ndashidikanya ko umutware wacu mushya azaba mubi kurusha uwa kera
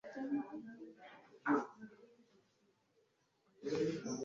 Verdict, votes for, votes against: rejected, 0, 2